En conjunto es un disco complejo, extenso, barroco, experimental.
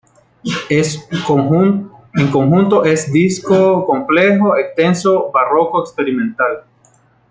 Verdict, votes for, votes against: rejected, 1, 2